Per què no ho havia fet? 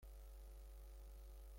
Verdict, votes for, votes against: rejected, 0, 2